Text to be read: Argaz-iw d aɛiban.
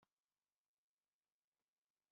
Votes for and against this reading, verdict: 1, 2, rejected